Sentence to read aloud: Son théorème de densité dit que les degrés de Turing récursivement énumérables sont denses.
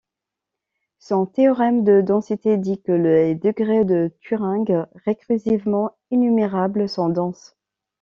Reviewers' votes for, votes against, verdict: 2, 0, accepted